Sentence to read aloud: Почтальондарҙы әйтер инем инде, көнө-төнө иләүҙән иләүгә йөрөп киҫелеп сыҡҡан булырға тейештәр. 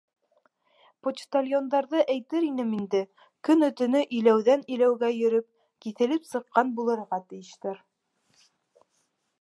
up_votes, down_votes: 0, 2